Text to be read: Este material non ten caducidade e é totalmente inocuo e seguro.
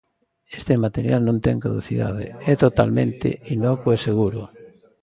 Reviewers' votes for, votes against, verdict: 2, 3, rejected